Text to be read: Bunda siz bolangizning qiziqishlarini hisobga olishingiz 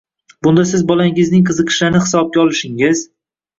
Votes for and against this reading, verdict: 2, 0, accepted